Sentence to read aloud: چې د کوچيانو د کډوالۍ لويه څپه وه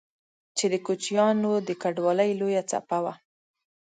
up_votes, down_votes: 3, 0